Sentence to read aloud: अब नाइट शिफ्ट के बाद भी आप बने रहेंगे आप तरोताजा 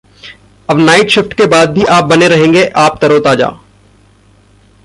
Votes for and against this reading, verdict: 0, 2, rejected